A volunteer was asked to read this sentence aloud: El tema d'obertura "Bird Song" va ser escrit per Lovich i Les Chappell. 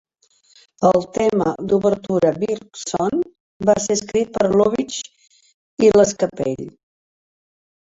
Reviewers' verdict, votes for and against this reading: rejected, 1, 3